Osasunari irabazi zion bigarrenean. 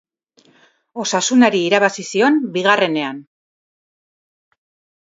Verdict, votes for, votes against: rejected, 2, 2